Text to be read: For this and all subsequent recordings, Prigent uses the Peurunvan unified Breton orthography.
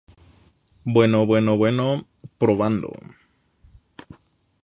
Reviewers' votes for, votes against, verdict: 0, 2, rejected